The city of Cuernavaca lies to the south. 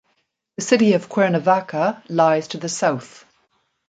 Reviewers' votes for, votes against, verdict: 2, 0, accepted